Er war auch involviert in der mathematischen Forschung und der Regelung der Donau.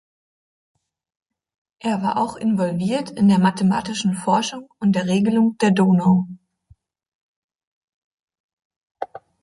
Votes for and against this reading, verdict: 3, 1, accepted